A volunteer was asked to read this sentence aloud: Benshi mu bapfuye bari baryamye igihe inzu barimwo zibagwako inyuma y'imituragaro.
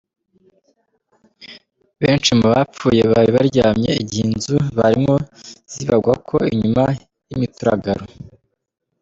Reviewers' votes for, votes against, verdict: 1, 2, rejected